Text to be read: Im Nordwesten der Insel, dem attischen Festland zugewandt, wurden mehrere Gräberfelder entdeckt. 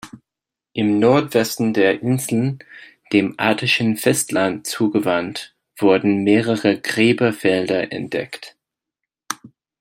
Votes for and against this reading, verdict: 1, 2, rejected